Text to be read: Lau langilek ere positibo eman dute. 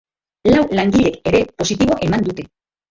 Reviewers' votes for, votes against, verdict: 2, 1, accepted